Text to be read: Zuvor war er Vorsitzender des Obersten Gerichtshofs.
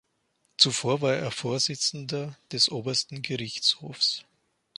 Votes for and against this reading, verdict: 2, 0, accepted